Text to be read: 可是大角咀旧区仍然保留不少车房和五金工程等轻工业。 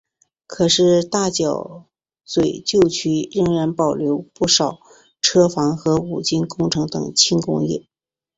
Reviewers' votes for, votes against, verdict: 2, 0, accepted